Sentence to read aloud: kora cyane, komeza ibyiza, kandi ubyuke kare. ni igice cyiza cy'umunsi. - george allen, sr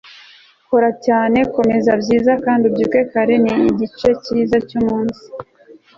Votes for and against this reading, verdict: 1, 2, rejected